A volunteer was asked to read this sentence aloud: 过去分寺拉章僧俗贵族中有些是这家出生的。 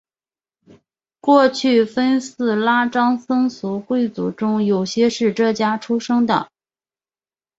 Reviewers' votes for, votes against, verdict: 2, 0, accepted